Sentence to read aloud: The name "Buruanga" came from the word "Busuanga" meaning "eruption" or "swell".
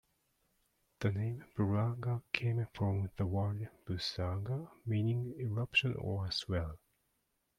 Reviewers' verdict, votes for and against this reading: rejected, 0, 2